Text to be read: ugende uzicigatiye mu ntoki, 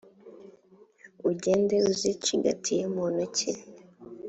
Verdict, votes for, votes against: accepted, 3, 0